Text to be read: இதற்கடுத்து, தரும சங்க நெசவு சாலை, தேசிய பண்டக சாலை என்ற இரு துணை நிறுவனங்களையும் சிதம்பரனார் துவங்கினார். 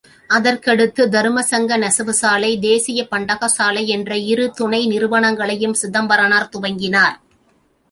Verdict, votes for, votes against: rejected, 0, 2